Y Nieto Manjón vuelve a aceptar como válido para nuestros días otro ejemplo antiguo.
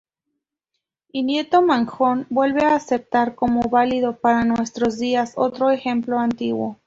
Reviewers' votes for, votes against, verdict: 2, 0, accepted